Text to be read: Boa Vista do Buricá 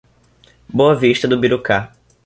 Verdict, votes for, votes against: rejected, 1, 2